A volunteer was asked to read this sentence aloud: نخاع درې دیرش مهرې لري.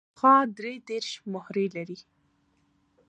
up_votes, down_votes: 1, 2